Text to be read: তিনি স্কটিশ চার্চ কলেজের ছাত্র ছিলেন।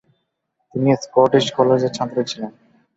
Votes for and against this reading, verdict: 0, 12, rejected